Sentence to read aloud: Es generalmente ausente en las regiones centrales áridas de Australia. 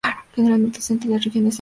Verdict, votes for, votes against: rejected, 0, 2